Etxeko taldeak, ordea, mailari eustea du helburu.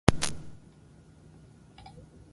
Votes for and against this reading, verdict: 0, 4, rejected